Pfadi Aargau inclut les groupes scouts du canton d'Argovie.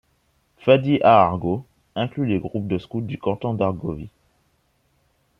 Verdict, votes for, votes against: rejected, 0, 2